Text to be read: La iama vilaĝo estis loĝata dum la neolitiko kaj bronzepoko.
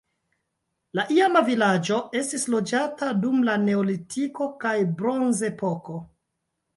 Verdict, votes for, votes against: accepted, 2, 0